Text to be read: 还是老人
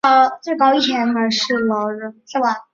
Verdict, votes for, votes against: rejected, 1, 4